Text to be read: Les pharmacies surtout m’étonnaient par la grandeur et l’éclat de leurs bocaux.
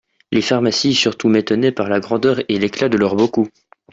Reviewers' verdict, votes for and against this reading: rejected, 1, 2